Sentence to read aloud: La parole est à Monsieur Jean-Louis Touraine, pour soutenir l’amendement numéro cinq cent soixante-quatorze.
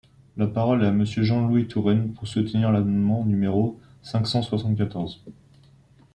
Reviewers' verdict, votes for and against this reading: accepted, 2, 0